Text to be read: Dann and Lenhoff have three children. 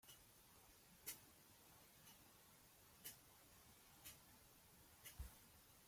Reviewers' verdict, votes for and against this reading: rejected, 0, 2